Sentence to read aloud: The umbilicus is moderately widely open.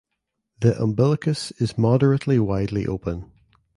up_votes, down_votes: 2, 0